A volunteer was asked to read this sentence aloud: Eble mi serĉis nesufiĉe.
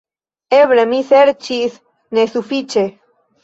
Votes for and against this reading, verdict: 2, 0, accepted